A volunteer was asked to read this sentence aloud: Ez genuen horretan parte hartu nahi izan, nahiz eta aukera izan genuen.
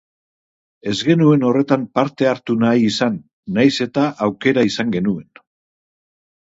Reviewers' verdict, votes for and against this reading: accepted, 2, 0